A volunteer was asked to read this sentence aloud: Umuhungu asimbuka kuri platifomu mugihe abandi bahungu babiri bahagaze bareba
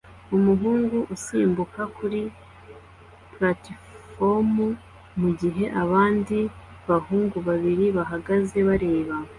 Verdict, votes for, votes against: accepted, 2, 0